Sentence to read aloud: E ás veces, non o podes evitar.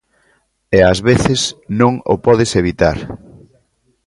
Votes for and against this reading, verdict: 2, 0, accepted